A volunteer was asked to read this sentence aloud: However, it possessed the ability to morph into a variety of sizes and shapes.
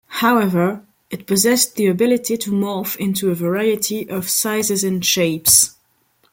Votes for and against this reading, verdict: 2, 0, accepted